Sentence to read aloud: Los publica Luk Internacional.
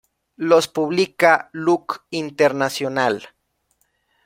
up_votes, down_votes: 2, 0